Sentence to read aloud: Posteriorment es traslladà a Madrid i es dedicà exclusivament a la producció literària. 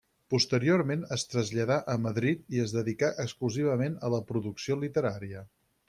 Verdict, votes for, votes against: accepted, 6, 0